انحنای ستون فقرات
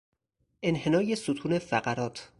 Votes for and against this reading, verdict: 4, 0, accepted